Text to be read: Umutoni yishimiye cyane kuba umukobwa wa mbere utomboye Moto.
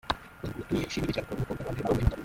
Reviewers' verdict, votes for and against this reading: rejected, 0, 2